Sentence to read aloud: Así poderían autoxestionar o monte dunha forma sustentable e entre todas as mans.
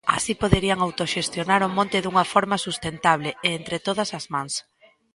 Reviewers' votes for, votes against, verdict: 2, 0, accepted